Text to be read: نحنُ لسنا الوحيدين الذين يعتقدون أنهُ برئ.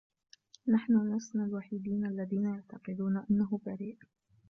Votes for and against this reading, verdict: 1, 2, rejected